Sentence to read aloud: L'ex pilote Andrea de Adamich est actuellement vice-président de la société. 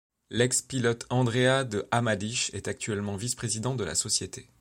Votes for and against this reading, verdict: 0, 2, rejected